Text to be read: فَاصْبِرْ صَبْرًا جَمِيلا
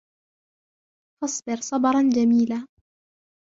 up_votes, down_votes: 2, 1